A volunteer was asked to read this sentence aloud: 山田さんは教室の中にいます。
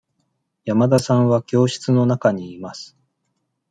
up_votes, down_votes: 2, 0